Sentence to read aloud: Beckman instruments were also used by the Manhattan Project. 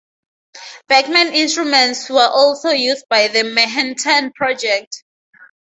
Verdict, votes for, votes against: rejected, 0, 2